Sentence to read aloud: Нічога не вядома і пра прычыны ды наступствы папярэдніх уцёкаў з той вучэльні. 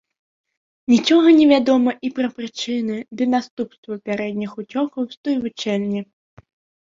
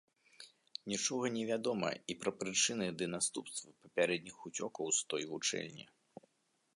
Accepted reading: first